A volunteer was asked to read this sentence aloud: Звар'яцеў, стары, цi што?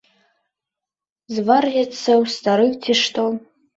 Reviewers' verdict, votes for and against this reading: rejected, 0, 2